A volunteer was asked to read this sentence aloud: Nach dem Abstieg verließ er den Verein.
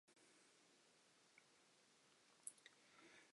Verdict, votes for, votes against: rejected, 0, 2